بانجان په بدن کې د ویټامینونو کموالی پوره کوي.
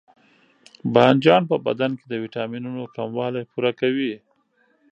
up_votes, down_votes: 3, 0